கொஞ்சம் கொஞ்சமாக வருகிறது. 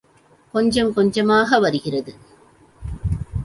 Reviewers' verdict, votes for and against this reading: accepted, 2, 0